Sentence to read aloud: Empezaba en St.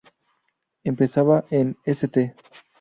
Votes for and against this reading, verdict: 0, 2, rejected